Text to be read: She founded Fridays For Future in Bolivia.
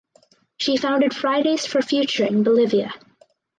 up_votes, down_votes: 4, 0